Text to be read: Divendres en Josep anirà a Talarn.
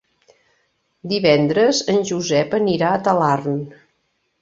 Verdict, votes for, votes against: accepted, 3, 0